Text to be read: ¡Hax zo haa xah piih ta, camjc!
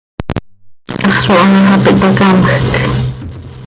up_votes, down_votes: 1, 2